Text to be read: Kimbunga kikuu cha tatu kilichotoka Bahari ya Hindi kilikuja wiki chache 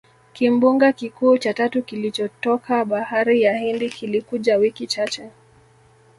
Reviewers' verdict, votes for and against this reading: accepted, 2, 0